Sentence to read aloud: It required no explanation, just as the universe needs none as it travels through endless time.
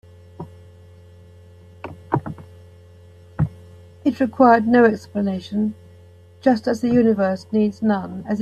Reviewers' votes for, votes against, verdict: 0, 3, rejected